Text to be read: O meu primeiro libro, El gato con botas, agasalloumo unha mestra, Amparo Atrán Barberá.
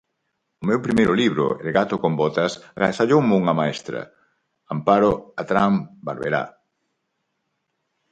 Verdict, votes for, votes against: rejected, 0, 4